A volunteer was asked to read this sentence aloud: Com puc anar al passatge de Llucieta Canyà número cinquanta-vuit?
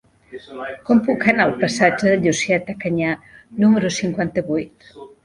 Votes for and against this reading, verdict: 1, 3, rejected